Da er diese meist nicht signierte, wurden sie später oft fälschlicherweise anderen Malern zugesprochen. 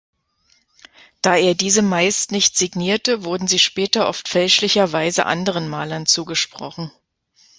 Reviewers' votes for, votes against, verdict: 2, 0, accepted